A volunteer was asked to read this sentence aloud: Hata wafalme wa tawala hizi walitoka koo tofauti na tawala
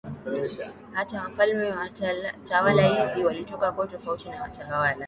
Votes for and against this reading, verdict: 12, 3, accepted